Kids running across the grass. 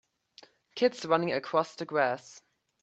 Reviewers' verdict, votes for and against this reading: accepted, 2, 0